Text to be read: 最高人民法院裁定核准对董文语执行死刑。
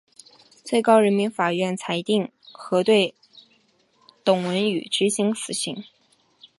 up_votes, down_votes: 3, 0